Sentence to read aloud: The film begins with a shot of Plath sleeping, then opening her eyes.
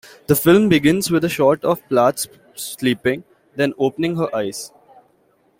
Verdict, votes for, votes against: accepted, 2, 0